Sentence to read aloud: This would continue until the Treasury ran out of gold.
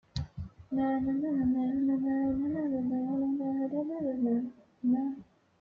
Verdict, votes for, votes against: rejected, 0, 2